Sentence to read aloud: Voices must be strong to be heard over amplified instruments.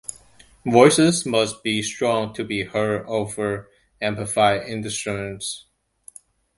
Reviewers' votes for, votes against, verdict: 1, 2, rejected